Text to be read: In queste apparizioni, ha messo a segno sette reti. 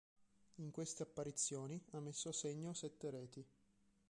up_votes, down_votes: 3, 1